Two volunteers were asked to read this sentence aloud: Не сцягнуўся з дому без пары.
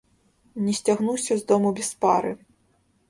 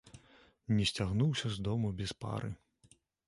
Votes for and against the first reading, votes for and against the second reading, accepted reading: 1, 2, 2, 1, second